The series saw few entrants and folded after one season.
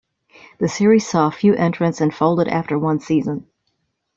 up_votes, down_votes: 2, 0